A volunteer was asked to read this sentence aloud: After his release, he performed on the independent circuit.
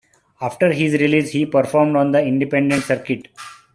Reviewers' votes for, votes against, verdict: 2, 0, accepted